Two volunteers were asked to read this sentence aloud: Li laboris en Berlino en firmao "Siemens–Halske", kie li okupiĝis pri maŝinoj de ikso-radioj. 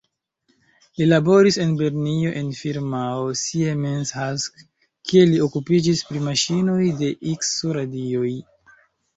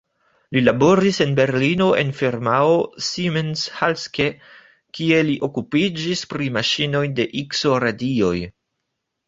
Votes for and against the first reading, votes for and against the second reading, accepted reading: 1, 2, 2, 0, second